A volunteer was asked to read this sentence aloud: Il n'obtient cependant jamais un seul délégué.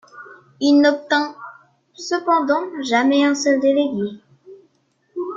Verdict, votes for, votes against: rejected, 0, 2